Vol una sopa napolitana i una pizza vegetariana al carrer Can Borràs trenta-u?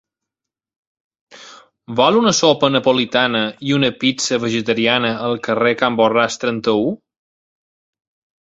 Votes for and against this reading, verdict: 2, 0, accepted